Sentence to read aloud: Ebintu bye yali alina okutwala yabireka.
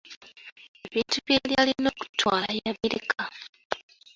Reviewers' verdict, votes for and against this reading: accepted, 2, 1